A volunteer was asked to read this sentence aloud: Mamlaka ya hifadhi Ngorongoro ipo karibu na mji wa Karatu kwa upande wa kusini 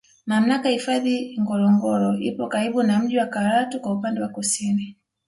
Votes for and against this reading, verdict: 2, 0, accepted